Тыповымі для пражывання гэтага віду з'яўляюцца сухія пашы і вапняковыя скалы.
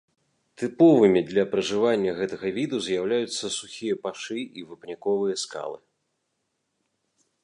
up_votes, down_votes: 1, 2